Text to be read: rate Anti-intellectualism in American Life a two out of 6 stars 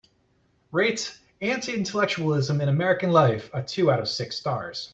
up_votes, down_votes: 0, 2